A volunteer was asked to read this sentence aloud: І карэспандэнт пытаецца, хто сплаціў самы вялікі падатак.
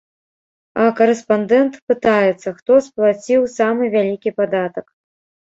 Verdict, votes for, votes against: rejected, 1, 2